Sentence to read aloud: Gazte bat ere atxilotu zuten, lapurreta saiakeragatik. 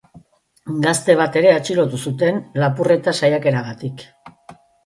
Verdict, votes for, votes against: accepted, 2, 0